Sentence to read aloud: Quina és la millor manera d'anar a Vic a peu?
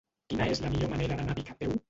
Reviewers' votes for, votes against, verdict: 0, 2, rejected